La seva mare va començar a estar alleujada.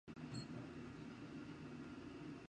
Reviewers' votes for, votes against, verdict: 1, 3, rejected